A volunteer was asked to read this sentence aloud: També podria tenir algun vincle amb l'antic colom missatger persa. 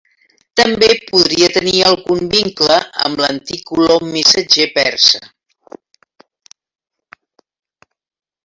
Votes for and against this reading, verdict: 0, 2, rejected